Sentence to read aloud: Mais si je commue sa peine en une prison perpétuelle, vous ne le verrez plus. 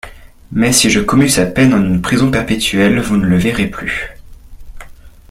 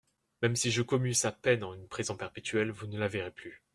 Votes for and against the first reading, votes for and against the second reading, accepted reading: 2, 0, 0, 2, first